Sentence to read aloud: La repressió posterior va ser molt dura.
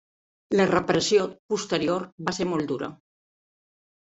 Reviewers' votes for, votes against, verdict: 3, 0, accepted